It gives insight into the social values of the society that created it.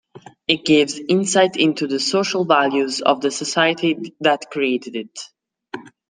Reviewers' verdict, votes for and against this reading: accepted, 2, 0